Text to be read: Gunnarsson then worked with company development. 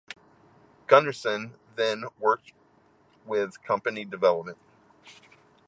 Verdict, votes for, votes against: accepted, 2, 0